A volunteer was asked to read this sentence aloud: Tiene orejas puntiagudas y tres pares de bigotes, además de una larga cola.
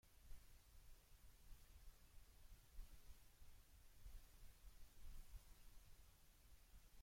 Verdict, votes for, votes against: rejected, 0, 2